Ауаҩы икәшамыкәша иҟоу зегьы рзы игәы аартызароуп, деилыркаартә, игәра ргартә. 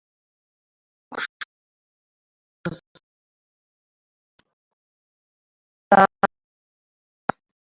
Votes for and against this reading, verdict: 1, 2, rejected